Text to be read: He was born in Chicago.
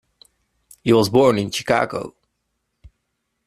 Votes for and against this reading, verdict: 2, 0, accepted